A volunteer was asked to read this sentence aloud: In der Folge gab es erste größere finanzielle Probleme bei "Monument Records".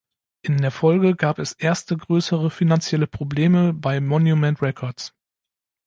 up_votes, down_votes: 2, 1